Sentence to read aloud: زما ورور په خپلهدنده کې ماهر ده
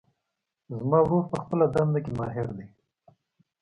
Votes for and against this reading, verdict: 1, 2, rejected